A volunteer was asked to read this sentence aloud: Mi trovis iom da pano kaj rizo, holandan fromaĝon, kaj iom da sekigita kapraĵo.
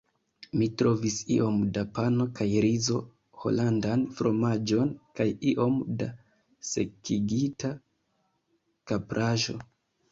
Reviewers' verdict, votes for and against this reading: rejected, 0, 2